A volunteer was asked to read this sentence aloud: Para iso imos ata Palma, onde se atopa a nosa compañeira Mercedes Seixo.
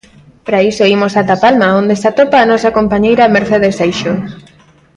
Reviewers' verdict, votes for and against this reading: accepted, 2, 1